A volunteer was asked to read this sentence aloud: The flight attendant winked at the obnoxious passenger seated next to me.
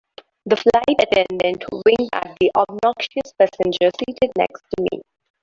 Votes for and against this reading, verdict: 1, 2, rejected